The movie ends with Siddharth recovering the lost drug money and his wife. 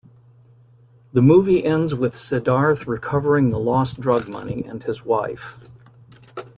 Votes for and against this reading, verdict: 3, 0, accepted